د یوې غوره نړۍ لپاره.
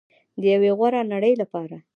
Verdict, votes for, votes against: rejected, 1, 2